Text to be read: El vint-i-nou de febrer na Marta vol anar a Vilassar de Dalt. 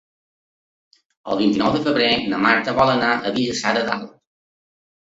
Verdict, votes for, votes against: rejected, 1, 2